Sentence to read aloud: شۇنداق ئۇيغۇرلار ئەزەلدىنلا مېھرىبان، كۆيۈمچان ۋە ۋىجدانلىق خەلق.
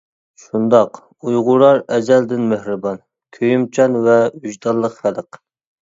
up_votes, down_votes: 0, 2